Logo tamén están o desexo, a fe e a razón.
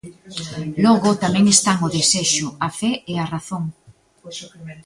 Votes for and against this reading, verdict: 0, 2, rejected